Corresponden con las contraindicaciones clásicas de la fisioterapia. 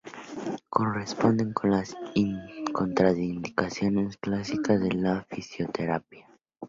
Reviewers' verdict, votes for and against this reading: rejected, 0, 2